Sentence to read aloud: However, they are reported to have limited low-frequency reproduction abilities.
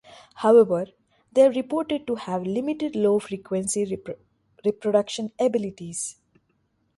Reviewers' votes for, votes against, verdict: 0, 2, rejected